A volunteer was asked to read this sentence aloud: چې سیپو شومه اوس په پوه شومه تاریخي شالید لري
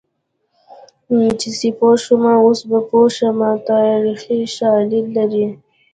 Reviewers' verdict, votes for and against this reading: accepted, 2, 1